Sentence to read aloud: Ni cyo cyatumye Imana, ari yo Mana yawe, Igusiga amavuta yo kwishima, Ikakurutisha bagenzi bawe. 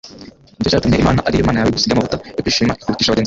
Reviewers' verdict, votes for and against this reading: rejected, 1, 2